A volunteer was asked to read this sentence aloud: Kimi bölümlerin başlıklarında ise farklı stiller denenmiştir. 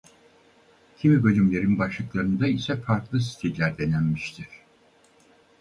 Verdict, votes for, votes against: accepted, 4, 0